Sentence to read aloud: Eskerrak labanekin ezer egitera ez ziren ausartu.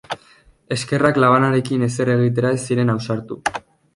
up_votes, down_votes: 0, 2